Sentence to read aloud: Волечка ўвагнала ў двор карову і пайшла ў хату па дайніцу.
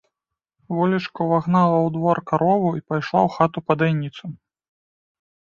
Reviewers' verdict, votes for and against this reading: accepted, 2, 0